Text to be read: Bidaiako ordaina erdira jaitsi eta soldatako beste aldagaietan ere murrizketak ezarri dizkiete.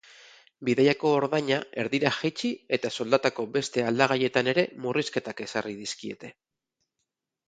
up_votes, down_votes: 2, 2